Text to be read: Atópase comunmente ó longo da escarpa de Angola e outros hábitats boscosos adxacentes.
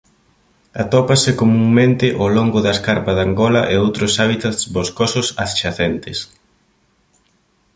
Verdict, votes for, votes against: accepted, 2, 0